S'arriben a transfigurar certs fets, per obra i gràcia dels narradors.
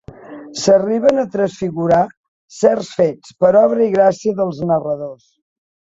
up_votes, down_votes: 3, 0